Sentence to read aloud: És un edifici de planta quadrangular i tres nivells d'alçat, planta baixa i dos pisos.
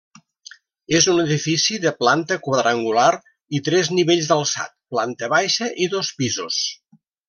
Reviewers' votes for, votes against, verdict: 3, 0, accepted